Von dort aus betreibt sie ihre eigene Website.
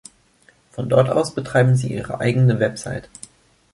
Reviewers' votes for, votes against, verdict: 0, 2, rejected